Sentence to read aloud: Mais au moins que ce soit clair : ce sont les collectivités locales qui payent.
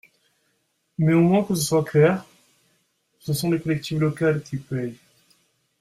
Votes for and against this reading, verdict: 1, 2, rejected